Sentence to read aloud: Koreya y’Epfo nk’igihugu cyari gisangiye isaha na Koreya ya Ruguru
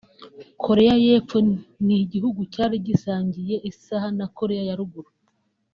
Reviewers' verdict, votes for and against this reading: rejected, 0, 2